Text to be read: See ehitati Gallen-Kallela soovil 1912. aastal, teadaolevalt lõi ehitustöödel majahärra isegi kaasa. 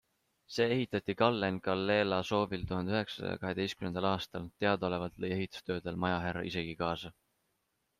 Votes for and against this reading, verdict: 0, 2, rejected